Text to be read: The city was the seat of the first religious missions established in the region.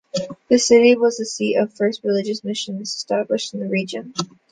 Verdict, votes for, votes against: rejected, 1, 2